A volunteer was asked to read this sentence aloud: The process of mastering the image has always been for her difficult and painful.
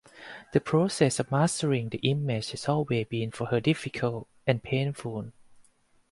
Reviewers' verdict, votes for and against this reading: accepted, 4, 0